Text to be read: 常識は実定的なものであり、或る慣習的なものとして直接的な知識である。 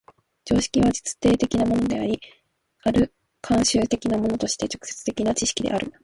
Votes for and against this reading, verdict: 0, 2, rejected